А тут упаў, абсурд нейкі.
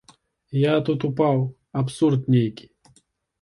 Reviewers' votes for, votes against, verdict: 1, 2, rejected